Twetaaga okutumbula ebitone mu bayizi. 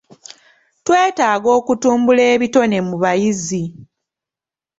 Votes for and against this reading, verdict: 2, 0, accepted